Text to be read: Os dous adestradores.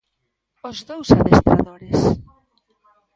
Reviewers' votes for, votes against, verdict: 1, 2, rejected